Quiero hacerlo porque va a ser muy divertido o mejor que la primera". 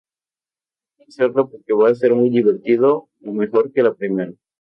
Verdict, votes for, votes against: accepted, 2, 0